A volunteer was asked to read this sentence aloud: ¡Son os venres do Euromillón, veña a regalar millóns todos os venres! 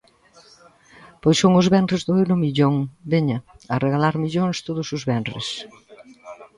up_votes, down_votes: 0, 2